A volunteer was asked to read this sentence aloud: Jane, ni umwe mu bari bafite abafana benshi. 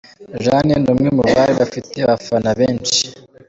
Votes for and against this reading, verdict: 2, 0, accepted